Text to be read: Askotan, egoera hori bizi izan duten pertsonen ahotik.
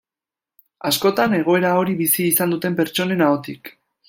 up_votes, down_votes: 2, 0